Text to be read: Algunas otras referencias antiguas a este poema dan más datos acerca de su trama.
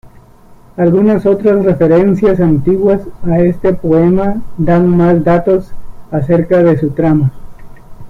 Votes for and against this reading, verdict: 2, 0, accepted